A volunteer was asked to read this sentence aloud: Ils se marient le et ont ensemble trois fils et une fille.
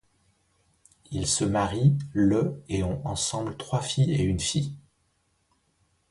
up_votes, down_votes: 1, 2